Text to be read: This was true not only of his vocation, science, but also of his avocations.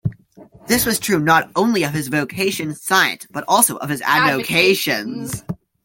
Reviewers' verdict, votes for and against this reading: rejected, 0, 2